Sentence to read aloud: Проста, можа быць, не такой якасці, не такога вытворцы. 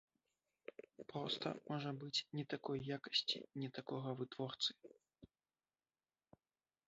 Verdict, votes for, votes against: rejected, 1, 2